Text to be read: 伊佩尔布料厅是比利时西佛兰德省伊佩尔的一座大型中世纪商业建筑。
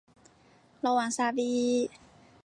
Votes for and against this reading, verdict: 1, 2, rejected